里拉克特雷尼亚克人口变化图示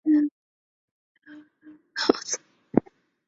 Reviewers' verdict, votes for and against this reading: rejected, 0, 4